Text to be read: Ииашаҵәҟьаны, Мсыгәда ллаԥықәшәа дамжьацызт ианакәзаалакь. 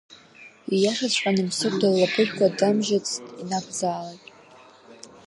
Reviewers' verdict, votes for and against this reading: accepted, 2, 1